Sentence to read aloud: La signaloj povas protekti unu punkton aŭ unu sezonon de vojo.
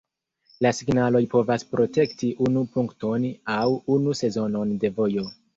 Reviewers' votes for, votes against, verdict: 1, 2, rejected